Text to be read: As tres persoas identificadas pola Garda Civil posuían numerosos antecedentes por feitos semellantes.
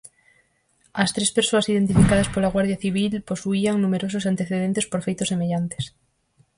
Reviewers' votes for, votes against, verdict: 0, 4, rejected